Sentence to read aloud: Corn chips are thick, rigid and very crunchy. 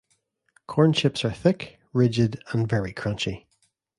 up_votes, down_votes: 2, 0